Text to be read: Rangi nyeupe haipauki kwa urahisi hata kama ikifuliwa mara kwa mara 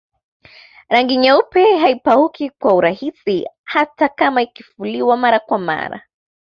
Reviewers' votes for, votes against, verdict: 2, 0, accepted